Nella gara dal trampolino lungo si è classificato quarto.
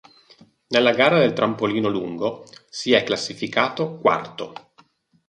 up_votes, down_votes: 4, 2